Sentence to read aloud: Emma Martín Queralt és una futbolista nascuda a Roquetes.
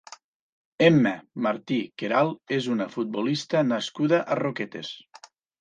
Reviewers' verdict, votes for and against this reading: rejected, 1, 2